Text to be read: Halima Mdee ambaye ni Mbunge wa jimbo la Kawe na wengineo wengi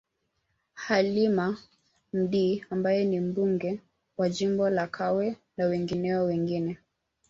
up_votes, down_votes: 1, 2